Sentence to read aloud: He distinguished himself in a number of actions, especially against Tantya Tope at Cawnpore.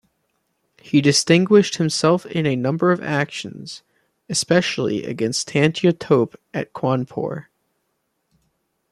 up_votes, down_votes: 2, 0